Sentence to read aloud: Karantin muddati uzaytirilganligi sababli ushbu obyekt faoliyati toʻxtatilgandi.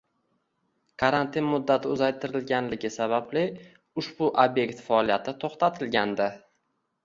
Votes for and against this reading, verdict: 1, 2, rejected